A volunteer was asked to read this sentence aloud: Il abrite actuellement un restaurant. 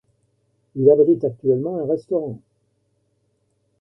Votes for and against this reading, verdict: 1, 2, rejected